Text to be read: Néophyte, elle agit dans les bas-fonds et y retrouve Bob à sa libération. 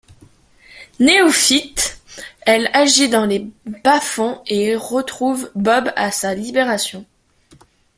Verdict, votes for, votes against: accepted, 2, 1